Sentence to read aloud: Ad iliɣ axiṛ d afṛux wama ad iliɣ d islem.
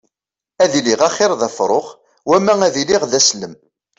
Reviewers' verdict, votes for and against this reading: rejected, 0, 2